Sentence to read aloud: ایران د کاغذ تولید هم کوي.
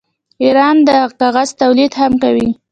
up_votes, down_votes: 2, 0